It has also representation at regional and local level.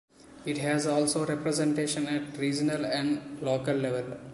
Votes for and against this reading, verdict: 1, 2, rejected